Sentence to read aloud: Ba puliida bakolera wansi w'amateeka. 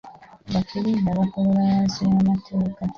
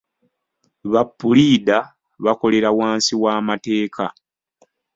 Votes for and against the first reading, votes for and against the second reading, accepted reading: 1, 2, 2, 0, second